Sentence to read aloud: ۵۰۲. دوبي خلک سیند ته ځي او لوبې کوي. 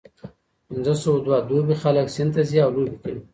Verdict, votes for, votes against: rejected, 0, 2